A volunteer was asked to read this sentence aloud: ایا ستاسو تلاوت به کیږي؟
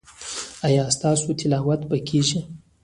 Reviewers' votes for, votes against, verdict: 2, 1, accepted